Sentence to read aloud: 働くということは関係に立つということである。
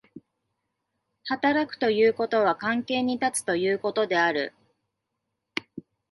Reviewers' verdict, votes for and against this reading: accepted, 2, 0